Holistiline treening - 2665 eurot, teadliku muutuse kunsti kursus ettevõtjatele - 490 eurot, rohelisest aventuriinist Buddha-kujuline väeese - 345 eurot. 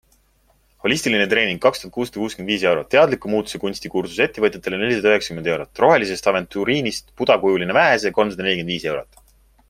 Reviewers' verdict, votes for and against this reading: rejected, 0, 2